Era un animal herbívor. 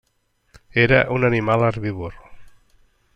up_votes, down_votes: 3, 0